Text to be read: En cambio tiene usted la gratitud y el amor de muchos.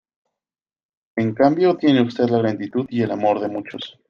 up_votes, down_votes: 2, 0